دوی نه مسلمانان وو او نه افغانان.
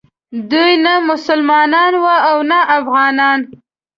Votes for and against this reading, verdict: 2, 0, accepted